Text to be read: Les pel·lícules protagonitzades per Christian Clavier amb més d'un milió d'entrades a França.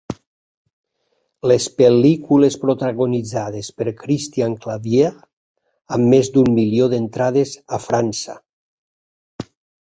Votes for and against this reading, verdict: 2, 0, accepted